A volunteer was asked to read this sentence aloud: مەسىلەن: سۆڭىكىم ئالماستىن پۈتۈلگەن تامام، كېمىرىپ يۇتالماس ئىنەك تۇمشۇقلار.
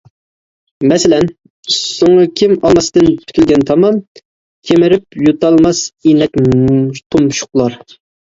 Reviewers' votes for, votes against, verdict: 1, 2, rejected